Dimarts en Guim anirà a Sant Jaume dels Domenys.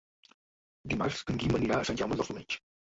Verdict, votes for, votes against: rejected, 1, 2